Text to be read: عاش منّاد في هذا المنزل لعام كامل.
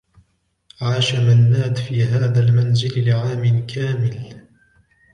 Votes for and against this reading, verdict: 1, 2, rejected